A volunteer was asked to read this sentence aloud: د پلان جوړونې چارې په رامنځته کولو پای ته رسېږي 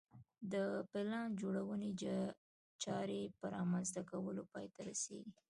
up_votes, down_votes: 2, 1